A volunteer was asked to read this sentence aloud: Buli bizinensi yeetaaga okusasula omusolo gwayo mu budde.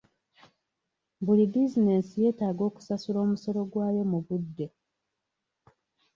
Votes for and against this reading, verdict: 3, 0, accepted